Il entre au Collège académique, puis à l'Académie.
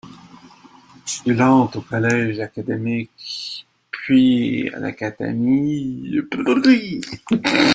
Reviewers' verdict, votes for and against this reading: rejected, 0, 2